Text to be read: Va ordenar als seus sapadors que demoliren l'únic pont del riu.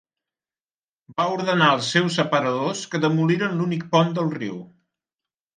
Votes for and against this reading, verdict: 0, 2, rejected